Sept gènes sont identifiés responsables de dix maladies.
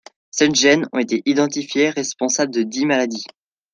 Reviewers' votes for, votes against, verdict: 1, 2, rejected